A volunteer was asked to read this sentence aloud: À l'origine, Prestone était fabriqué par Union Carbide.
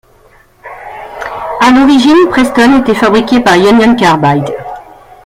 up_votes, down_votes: 2, 0